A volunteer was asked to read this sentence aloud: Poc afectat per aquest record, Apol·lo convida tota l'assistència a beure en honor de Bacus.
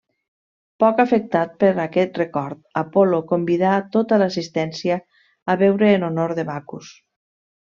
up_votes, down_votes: 0, 2